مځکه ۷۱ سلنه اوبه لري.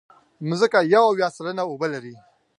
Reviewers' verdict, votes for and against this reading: rejected, 0, 2